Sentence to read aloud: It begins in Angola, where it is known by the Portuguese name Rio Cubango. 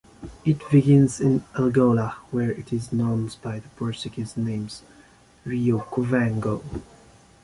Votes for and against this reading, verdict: 0, 2, rejected